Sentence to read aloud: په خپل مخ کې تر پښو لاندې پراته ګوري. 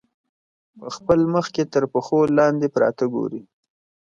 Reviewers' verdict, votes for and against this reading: accepted, 2, 0